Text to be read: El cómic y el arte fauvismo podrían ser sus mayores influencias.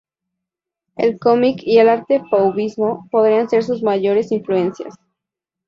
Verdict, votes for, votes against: accepted, 2, 0